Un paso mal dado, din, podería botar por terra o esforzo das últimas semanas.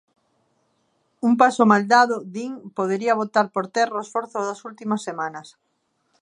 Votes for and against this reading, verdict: 2, 0, accepted